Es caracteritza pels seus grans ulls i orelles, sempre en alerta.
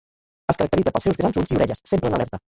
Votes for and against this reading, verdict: 1, 2, rejected